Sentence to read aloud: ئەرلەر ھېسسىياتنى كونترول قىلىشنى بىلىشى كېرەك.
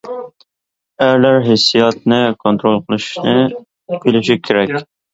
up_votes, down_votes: 2, 1